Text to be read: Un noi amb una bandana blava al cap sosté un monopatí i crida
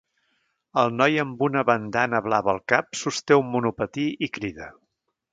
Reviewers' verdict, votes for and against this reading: rejected, 0, 2